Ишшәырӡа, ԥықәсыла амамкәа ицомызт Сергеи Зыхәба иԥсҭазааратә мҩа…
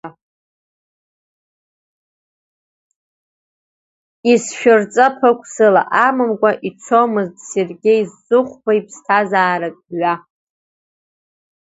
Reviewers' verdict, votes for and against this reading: rejected, 0, 2